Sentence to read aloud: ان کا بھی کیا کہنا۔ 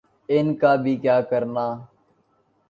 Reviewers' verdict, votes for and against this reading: rejected, 0, 3